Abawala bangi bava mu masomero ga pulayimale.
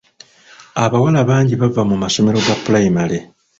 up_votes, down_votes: 1, 2